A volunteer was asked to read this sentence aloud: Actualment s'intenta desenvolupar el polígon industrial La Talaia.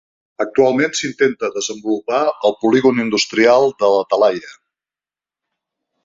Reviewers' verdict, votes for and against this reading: rejected, 0, 4